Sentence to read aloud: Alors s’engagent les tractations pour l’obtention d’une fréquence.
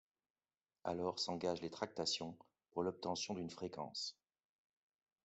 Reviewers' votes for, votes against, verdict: 2, 0, accepted